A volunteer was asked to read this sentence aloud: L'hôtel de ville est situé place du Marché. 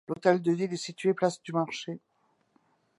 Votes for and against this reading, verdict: 2, 0, accepted